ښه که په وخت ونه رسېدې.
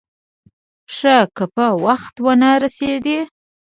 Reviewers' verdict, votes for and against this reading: accepted, 2, 0